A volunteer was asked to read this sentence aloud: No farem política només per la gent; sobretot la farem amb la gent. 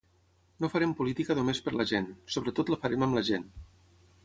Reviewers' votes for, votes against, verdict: 6, 0, accepted